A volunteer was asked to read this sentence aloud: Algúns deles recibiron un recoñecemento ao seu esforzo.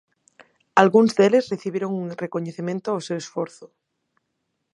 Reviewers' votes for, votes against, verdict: 4, 0, accepted